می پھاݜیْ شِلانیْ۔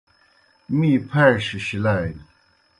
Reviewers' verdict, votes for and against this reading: accepted, 2, 0